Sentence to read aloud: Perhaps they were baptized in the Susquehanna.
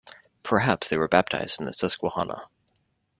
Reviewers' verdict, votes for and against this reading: accepted, 2, 0